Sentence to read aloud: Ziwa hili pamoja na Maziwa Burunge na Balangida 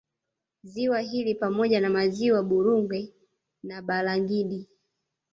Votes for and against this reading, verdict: 1, 2, rejected